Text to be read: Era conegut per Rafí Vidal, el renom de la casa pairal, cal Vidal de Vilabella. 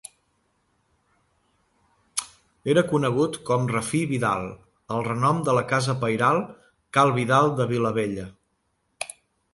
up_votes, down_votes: 1, 2